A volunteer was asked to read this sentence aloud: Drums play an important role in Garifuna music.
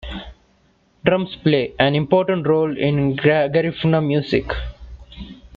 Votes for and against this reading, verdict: 0, 2, rejected